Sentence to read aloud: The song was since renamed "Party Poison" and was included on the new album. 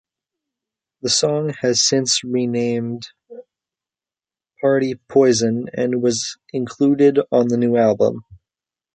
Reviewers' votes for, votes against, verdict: 0, 2, rejected